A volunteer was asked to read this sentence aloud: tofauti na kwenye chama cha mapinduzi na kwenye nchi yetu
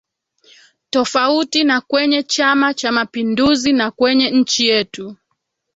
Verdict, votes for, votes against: rejected, 1, 2